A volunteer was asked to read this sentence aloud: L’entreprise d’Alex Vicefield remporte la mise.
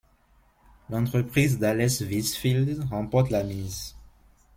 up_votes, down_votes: 0, 2